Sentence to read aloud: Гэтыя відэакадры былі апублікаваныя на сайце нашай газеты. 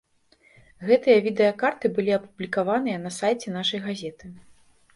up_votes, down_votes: 1, 2